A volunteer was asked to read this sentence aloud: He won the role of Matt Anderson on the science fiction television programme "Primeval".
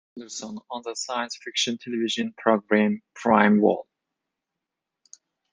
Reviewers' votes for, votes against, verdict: 0, 2, rejected